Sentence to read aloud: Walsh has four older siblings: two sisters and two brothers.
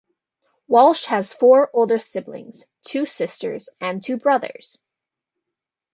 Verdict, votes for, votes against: accepted, 2, 0